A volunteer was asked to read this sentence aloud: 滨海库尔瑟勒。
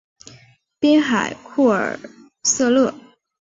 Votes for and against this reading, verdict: 6, 0, accepted